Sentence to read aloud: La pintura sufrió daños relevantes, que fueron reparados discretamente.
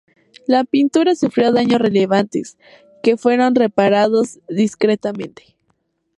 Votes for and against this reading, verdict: 2, 0, accepted